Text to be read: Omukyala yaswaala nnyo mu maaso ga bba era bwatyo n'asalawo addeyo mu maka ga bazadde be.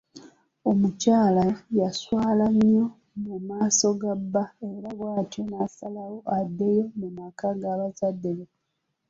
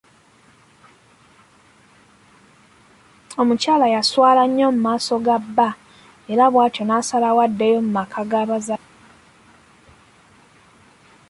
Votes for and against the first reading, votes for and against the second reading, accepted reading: 2, 0, 0, 2, first